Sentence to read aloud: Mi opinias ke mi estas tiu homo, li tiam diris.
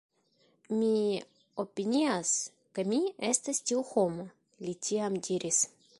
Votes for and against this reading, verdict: 2, 1, accepted